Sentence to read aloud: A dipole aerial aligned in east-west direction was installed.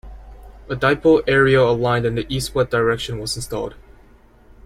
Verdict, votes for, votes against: rejected, 1, 2